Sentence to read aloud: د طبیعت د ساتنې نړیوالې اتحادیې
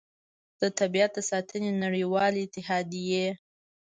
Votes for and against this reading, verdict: 2, 1, accepted